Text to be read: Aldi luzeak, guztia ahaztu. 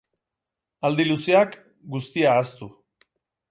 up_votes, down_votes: 4, 0